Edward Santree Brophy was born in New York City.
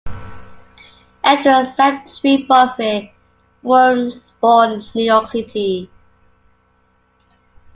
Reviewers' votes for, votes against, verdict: 0, 2, rejected